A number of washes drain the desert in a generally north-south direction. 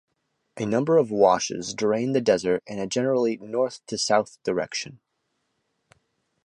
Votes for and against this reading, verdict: 1, 2, rejected